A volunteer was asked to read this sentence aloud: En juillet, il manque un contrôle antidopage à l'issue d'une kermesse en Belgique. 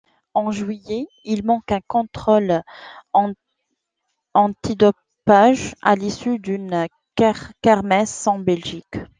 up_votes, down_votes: 0, 2